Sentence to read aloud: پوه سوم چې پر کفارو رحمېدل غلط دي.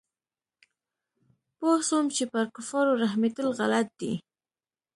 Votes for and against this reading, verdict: 2, 0, accepted